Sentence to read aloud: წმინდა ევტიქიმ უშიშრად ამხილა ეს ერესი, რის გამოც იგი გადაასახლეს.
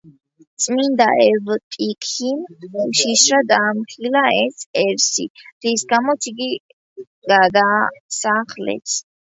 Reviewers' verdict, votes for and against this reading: rejected, 0, 2